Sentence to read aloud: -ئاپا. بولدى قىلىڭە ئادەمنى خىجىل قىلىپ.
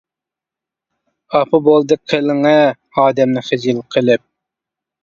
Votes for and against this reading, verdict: 2, 0, accepted